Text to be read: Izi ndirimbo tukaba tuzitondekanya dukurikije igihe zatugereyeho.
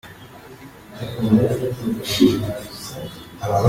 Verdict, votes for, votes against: rejected, 0, 2